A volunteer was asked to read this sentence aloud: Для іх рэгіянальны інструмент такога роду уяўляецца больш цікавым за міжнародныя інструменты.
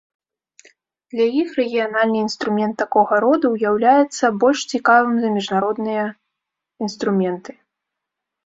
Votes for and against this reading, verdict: 1, 2, rejected